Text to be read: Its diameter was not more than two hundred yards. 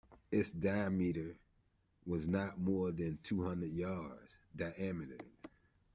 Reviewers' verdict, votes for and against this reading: rejected, 1, 2